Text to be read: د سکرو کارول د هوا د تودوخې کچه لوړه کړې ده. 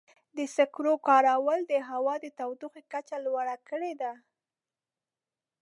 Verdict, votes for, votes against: rejected, 1, 2